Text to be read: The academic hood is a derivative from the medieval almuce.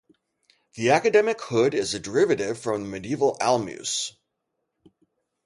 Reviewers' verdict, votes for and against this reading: rejected, 2, 2